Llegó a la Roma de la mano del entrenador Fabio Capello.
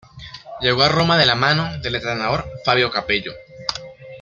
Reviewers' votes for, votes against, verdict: 1, 2, rejected